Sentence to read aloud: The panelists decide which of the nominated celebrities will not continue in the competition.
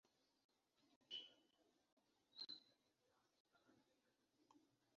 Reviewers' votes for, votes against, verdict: 0, 2, rejected